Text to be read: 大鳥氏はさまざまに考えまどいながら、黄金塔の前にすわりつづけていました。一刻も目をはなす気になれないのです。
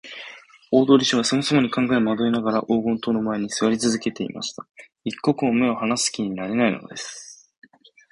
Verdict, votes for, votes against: accepted, 2, 0